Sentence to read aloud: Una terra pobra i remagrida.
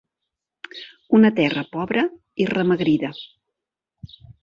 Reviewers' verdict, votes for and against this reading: rejected, 2, 3